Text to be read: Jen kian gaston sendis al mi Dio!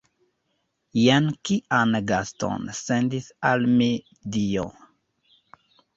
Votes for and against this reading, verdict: 2, 0, accepted